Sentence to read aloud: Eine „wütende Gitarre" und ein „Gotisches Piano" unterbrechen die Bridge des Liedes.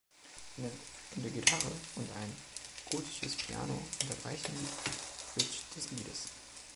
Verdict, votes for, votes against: rejected, 0, 2